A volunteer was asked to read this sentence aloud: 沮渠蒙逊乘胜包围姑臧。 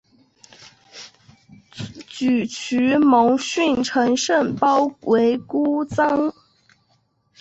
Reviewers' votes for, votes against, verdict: 0, 2, rejected